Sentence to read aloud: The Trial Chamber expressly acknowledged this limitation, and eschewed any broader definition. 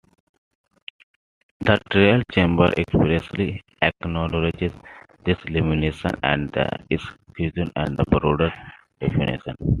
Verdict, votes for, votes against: rejected, 0, 2